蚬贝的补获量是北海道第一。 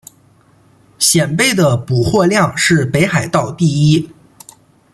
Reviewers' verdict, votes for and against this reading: accepted, 2, 0